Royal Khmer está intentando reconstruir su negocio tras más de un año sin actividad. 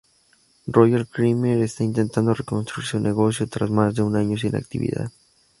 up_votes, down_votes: 2, 0